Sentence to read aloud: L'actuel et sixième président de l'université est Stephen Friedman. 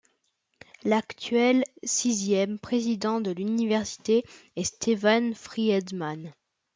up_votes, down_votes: 1, 2